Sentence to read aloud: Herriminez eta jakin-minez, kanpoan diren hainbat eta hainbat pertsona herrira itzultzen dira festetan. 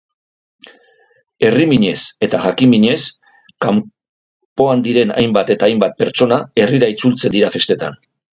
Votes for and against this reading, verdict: 0, 2, rejected